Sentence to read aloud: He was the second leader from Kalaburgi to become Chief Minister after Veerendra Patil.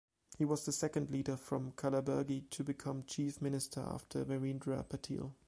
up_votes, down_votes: 2, 0